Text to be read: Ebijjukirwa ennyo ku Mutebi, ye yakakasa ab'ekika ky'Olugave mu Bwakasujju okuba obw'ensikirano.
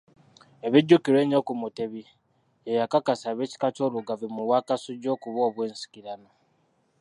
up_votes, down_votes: 2, 0